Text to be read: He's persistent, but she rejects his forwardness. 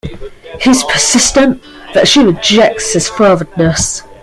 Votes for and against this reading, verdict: 2, 1, accepted